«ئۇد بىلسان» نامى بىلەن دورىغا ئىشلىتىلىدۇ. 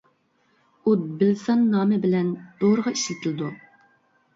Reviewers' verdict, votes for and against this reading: accepted, 2, 0